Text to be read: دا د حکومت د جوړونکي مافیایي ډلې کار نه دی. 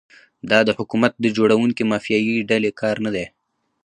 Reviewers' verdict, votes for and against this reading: accepted, 2, 0